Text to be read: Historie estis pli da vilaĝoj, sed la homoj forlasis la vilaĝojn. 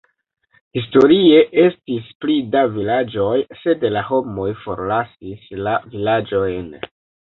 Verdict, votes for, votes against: rejected, 1, 2